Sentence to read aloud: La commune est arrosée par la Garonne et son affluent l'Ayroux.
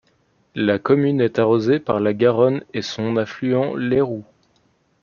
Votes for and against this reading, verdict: 2, 0, accepted